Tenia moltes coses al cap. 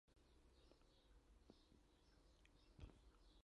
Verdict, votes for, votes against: rejected, 0, 2